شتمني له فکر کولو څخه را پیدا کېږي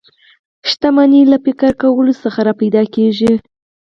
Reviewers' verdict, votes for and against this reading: rejected, 2, 4